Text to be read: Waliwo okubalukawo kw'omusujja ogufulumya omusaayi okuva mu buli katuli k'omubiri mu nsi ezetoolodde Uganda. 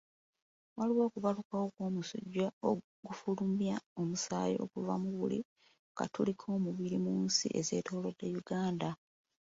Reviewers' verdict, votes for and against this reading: rejected, 0, 2